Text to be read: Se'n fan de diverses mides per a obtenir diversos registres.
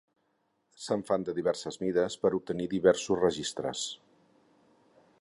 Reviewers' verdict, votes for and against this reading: accepted, 6, 0